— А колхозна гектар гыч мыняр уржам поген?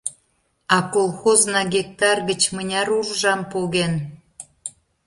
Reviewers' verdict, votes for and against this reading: accepted, 2, 0